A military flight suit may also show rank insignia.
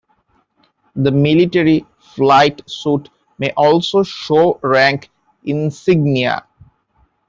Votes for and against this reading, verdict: 0, 2, rejected